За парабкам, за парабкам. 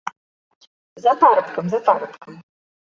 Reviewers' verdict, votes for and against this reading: rejected, 1, 2